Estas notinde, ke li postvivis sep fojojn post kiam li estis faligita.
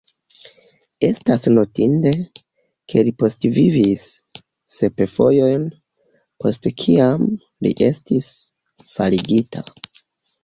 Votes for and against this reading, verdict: 0, 2, rejected